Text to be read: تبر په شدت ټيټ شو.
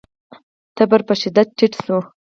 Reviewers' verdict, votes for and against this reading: rejected, 0, 4